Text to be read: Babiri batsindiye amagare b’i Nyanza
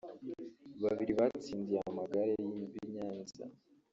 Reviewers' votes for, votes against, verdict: 1, 2, rejected